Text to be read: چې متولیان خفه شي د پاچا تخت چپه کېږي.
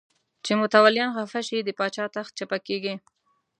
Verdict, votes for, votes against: accepted, 2, 0